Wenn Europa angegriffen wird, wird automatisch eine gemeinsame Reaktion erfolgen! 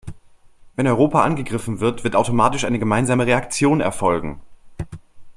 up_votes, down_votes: 2, 0